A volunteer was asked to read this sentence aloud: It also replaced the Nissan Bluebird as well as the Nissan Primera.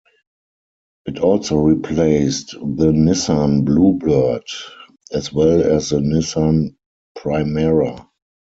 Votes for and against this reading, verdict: 2, 4, rejected